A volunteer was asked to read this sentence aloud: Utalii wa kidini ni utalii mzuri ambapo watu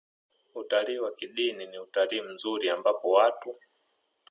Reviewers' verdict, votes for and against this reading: accepted, 2, 0